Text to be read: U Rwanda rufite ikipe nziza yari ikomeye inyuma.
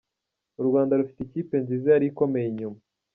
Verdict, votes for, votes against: accepted, 2, 0